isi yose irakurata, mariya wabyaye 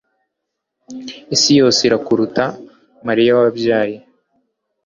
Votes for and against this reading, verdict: 1, 2, rejected